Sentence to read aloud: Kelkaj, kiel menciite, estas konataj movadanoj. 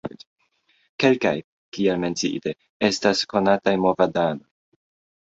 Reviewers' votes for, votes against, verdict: 1, 2, rejected